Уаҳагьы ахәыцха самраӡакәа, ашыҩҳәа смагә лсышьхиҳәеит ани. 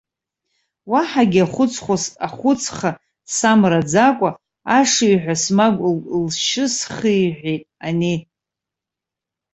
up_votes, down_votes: 1, 2